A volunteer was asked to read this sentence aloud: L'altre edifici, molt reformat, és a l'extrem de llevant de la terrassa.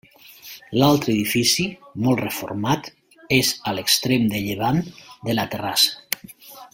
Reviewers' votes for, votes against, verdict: 4, 1, accepted